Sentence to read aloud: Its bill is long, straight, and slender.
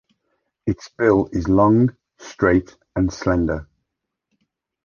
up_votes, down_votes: 2, 0